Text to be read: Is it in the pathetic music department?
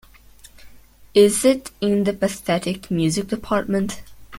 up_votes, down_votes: 1, 2